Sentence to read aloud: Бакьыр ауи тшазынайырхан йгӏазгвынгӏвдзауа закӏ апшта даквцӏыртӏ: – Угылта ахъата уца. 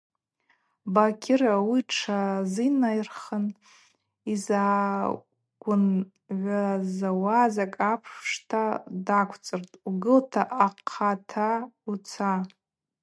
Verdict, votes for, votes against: accepted, 2, 0